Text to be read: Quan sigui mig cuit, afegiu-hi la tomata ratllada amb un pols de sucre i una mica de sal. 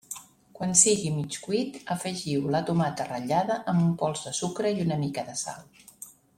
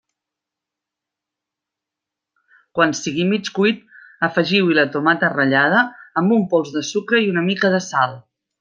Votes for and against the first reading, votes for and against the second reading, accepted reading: 0, 2, 3, 0, second